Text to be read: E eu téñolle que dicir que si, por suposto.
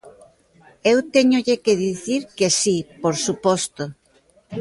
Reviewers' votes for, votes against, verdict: 1, 2, rejected